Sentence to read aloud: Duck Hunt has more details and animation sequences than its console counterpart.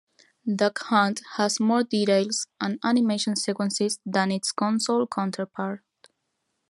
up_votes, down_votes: 2, 0